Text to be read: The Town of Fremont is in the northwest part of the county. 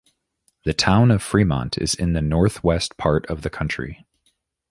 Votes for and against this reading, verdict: 0, 2, rejected